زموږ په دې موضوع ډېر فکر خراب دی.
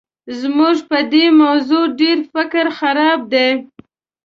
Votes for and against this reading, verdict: 2, 0, accepted